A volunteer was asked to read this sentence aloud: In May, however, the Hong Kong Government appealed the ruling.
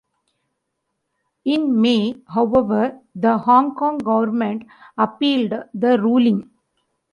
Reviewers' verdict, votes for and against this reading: accepted, 2, 0